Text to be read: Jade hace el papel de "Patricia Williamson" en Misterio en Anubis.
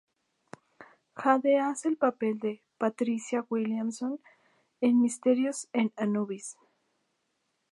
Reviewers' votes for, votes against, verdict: 0, 2, rejected